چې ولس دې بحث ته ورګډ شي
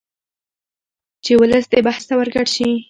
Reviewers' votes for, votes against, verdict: 2, 1, accepted